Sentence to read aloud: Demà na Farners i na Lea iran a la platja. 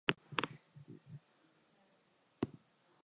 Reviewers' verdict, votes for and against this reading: rejected, 0, 2